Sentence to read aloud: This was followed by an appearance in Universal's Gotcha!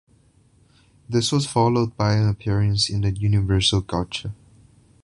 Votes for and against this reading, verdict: 1, 2, rejected